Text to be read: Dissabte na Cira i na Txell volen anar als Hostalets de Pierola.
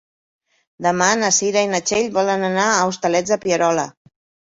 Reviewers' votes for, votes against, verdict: 0, 2, rejected